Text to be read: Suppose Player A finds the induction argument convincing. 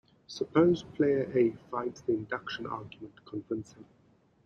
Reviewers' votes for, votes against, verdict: 2, 0, accepted